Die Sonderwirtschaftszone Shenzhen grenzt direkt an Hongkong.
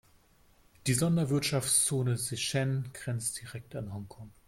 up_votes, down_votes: 1, 2